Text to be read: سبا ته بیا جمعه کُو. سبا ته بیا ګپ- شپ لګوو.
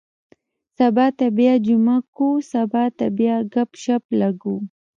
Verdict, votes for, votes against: rejected, 0, 2